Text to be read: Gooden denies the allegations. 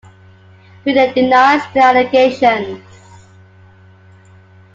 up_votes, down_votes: 2, 1